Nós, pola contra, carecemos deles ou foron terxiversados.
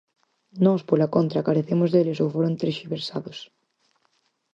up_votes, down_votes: 4, 0